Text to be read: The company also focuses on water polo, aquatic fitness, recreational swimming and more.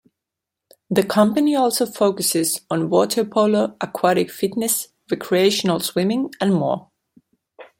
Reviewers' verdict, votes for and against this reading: accepted, 2, 0